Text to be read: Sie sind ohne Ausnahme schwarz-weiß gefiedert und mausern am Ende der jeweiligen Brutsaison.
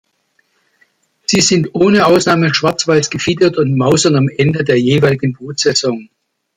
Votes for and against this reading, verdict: 2, 0, accepted